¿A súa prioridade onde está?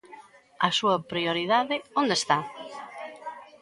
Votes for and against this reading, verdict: 2, 0, accepted